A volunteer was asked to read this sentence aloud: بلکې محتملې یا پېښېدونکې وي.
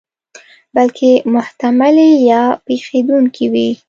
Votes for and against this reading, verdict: 2, 0, accepted